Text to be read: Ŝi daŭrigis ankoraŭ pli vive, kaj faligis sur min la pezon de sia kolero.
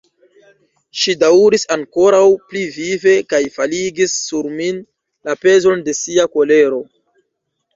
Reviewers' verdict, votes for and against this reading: rejected, 1, 2